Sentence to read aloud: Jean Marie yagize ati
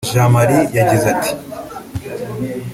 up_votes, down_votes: 2, 1